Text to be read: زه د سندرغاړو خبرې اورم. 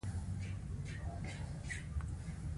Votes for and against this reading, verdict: 2, 0, accepted